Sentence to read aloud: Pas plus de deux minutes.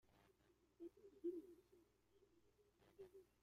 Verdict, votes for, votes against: rejected, 0, 2